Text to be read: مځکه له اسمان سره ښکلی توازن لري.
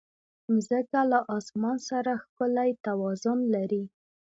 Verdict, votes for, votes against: accepted, 2, 0